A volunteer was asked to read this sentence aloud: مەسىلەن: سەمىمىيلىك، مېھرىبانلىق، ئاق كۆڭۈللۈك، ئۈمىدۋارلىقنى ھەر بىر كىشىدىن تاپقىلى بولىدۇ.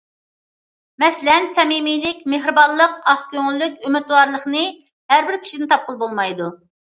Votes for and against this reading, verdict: 0, 2, rejected